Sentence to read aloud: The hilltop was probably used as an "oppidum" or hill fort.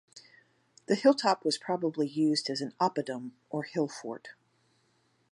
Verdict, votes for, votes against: accepted, 2, 0